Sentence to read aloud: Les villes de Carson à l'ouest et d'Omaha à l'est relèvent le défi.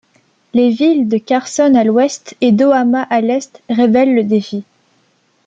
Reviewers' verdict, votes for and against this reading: rejected, 0, 2